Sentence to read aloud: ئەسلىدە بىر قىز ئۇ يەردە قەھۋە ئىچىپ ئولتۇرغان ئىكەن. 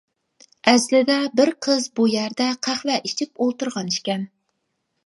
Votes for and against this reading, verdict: 0, 2, rejected